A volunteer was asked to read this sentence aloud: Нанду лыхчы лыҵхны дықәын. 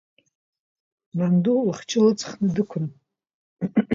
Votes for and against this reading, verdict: 0, 2, rejected